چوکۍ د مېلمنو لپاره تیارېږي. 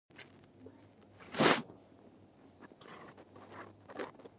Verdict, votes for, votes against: rejected, 1, 2